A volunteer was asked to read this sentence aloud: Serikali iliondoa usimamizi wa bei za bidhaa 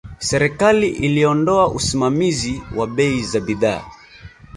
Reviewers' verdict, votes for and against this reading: rejected, 0, 2